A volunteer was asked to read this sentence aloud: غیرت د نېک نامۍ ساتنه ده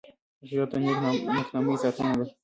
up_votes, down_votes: 1, 2